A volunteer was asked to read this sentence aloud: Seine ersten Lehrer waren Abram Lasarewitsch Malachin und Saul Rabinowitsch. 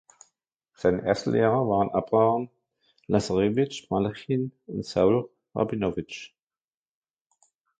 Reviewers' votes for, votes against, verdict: 0, 2, rejected